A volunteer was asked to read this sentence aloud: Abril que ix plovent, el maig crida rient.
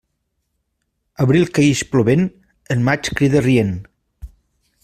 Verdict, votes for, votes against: accepted, 2, 0